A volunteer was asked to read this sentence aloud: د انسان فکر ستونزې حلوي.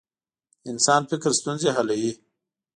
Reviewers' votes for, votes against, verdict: 2, 0, accepted